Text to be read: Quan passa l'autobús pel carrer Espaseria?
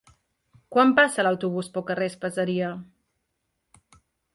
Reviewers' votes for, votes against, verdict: 2, 0, accepted